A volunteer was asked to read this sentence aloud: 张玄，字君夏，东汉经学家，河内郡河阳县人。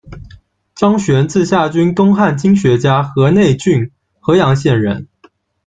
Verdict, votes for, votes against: rejected, 1, 2